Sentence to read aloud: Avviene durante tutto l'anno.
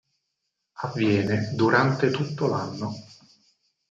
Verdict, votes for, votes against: accepted, 6, 0